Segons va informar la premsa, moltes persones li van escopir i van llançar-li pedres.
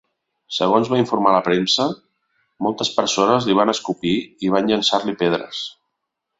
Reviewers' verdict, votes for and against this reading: accepted, 2, 0